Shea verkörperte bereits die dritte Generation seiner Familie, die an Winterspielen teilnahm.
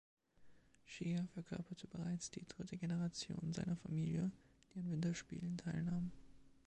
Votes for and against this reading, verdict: 2, 0, accepted